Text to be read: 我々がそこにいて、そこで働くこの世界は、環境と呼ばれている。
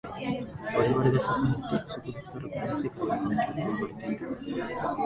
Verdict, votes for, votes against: rejected, 0, 2